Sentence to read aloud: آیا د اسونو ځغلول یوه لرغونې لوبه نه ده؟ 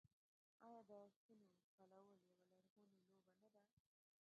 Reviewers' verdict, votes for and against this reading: rejected, 0, 2